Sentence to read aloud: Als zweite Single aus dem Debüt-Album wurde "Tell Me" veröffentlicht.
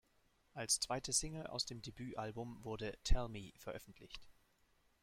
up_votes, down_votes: 2, 0